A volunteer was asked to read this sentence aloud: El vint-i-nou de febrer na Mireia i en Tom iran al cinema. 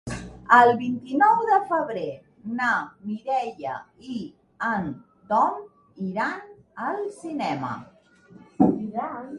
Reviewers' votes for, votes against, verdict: 1, 2, rejected